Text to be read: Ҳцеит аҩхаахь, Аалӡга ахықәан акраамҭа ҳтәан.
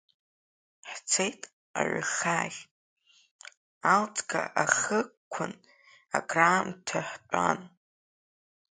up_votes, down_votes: 2, 0